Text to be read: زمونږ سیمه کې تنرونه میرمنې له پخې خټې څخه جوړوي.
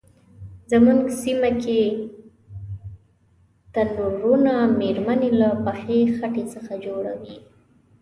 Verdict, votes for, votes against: rejected, 1, 2